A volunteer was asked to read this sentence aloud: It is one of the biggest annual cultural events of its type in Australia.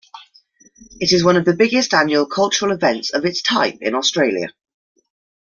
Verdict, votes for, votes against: accepted, 2, 0